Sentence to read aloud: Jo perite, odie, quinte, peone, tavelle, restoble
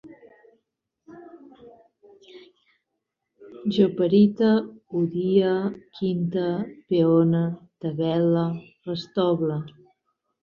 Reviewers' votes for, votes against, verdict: 0, 4, rejected